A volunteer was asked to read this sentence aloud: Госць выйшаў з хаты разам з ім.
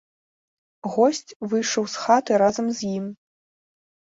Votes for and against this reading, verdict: 2, 0, accepted